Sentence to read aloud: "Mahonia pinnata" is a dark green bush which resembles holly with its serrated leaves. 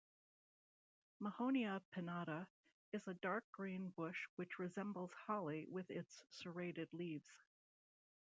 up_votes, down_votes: 1, 2